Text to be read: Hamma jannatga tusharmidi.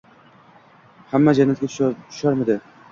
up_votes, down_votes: 0, 2